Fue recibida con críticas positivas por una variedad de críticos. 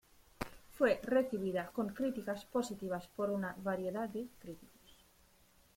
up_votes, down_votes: 2, 1